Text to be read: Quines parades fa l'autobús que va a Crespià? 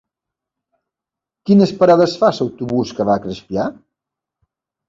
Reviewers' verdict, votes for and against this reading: rejected, 1, 2